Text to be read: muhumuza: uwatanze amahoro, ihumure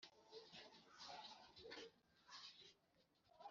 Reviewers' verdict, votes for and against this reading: accepted, 3, 2